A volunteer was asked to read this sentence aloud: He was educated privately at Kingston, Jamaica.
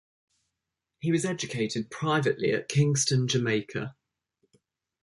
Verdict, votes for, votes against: accepted, 2, 0